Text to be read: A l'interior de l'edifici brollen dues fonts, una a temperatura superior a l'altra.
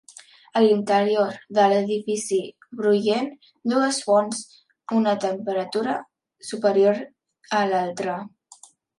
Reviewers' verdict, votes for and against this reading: accepted, 2, 1